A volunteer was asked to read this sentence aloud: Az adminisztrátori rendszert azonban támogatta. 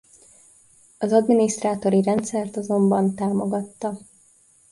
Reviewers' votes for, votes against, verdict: 2, 0, accepted